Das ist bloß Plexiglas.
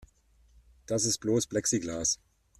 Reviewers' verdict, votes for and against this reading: accepted, 2, 0